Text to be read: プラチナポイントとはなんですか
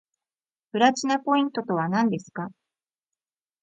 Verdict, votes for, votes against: rejected, 1, 2